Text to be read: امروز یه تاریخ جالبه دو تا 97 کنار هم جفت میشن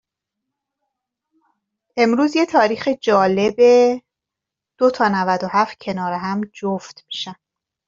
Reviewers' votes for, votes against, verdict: 0, 2, rejected